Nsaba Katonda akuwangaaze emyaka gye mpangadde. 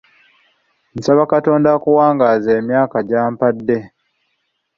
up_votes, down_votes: 2, 0